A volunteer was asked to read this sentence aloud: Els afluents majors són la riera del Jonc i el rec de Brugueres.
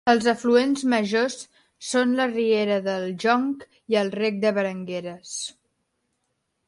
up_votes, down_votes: 0, 2